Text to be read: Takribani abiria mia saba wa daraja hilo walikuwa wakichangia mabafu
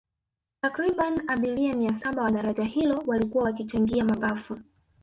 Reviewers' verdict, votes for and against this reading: rejected, 0, 2